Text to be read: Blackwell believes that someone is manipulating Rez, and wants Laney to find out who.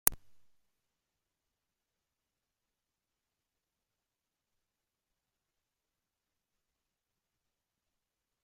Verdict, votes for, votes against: rejected, 0, 2